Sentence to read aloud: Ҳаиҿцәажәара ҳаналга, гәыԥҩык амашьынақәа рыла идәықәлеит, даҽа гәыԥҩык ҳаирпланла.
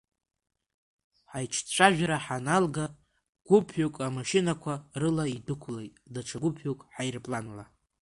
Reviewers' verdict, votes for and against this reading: rejected, 1, 2